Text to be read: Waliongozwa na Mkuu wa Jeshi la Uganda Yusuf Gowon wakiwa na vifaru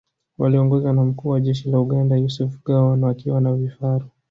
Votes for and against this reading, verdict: 3, 1, accepted